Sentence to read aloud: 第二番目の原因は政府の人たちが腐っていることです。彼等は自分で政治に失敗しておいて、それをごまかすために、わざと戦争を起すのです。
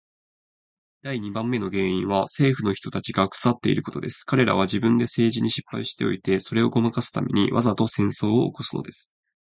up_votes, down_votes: 4, 0